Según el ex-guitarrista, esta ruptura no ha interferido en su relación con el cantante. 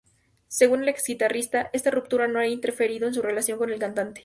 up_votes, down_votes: 4, 0